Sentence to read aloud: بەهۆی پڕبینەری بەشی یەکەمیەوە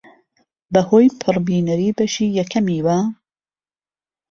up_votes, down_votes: 2, 0